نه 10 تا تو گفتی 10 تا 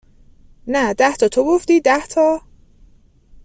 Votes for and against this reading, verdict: 0, 2, rejected